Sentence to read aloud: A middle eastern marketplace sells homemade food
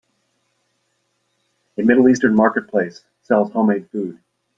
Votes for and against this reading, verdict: 2, 0, accepted